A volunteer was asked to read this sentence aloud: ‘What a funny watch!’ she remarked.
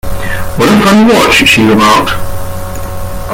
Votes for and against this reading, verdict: 1, 2, rejected